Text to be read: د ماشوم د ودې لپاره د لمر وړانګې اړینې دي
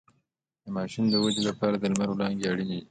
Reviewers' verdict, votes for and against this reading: accepted, 2, 0